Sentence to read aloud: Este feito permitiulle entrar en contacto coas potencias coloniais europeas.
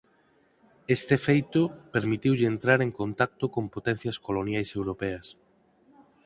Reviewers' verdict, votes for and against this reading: rejected, 0, 4